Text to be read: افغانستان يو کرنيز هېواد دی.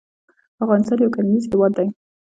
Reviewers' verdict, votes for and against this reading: rejected, 1, 2